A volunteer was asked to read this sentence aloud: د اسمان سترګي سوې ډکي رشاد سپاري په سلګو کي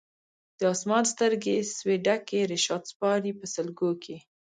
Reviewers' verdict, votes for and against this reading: rejected, 1, 2